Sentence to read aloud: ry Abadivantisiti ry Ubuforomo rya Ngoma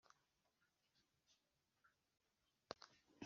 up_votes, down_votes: 1, 2